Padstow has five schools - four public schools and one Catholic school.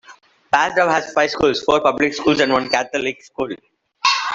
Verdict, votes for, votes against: rejected, 0, 2